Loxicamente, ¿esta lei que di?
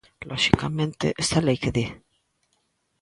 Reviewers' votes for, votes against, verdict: 2, 1, accepted